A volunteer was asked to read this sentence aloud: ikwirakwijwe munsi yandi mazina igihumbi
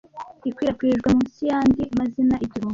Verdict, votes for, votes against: rejected, 0, 2